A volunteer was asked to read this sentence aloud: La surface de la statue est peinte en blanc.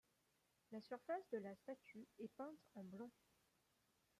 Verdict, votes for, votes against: rejected, 0, 2